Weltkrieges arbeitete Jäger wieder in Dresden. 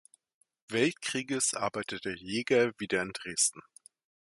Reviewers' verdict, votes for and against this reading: accepted, 2, 0